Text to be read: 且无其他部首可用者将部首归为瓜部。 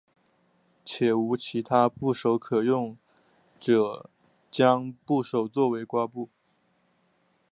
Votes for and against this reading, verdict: 2, 0, accepted